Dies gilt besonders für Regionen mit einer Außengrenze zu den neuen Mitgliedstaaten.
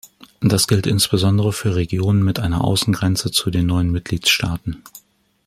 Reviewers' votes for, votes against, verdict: 1, 2, rejected